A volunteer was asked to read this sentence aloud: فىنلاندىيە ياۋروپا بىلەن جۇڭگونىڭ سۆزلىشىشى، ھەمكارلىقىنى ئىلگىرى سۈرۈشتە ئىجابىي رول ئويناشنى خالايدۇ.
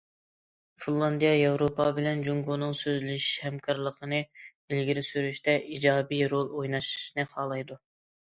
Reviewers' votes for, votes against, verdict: 2, 0, accepted